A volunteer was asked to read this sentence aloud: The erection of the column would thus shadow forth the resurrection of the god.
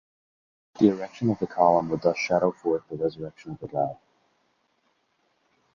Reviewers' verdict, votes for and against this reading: rejected, 0, 2